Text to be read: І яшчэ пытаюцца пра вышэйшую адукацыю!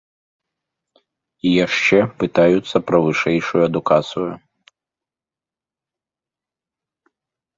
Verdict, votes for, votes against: accepted, 2, 0